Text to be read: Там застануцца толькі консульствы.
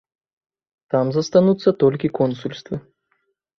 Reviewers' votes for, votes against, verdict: 2, 0, accepted